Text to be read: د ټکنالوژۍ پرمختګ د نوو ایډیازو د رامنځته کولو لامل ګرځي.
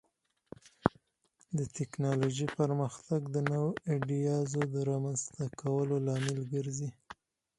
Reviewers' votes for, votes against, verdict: 4, 0, accepted